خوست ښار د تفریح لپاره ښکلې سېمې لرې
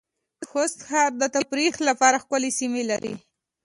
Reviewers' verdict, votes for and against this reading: accepted, 2, 0